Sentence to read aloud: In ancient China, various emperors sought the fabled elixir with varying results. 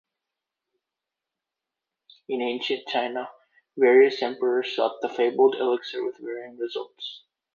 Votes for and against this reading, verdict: 2, 0, accepted